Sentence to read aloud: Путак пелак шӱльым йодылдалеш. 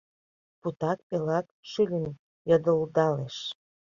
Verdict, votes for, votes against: rejected, 1, 2